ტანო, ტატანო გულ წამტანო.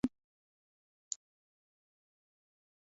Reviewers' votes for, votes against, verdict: 0, 2, rejected